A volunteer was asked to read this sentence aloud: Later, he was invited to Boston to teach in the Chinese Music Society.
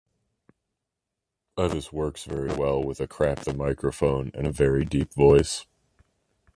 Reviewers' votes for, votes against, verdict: 0, 2, rejected